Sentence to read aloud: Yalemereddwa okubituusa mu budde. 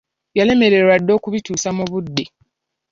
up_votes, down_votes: 0, 2